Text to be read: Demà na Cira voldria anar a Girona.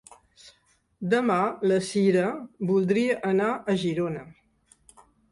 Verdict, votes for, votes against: rejected, 2, 3